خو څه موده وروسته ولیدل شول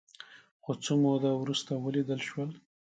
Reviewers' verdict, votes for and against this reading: accepted, 3, 0